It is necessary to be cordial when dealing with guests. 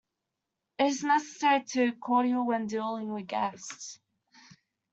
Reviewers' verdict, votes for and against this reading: accepted, 2, 0